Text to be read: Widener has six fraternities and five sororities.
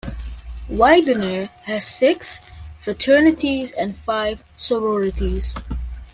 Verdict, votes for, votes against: accepted, 2, 0